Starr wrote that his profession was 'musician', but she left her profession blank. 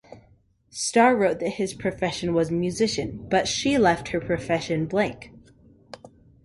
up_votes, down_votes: 2, 0